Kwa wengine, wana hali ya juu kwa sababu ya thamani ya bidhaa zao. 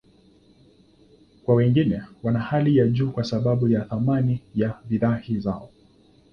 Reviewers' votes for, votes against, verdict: 2, 0, accepted